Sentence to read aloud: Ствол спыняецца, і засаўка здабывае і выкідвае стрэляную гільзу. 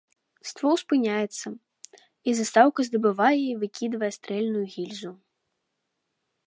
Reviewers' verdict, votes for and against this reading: rejected, 1, 2